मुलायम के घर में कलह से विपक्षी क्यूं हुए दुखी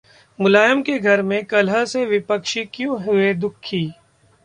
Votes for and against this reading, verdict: 2, 0, accepted